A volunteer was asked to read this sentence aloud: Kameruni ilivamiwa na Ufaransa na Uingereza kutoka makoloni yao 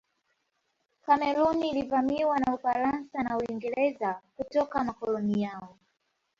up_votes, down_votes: 2, 0